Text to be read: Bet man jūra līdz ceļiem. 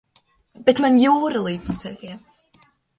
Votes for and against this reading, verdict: 2, 1, accepted